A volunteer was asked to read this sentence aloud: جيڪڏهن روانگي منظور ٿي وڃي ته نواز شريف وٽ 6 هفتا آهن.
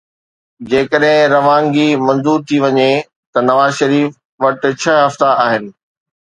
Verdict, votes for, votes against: rejected, 0, 2